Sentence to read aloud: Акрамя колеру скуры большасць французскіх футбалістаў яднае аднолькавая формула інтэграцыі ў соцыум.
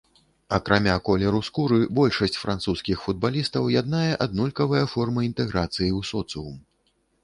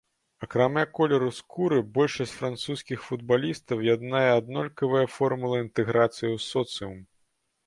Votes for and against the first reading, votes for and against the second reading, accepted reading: 0, 2, 2, 0, second